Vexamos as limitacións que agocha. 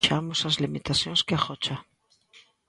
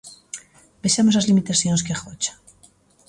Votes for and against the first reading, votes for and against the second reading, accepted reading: 0, 2, 2, 0, second